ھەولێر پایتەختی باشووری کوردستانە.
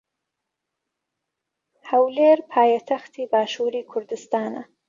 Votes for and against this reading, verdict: 3, 0, accepted